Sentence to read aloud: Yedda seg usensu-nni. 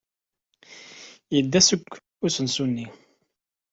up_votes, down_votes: 2, 0